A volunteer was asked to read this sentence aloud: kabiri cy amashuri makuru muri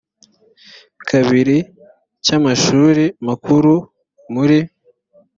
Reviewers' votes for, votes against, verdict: 2, 0, accepted